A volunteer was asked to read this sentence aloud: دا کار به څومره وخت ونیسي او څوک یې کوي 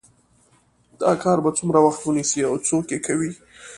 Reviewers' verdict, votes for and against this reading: accepted, 2, 1